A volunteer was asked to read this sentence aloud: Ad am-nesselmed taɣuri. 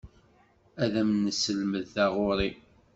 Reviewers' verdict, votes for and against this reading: accepted, 2, 0